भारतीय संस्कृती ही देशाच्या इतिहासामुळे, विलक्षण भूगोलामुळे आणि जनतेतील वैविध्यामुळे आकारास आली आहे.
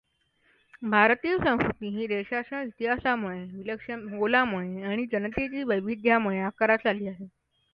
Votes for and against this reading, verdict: 2, 0, accepted